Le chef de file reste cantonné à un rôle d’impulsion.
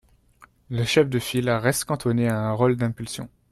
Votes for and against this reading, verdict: 1, 2, rejected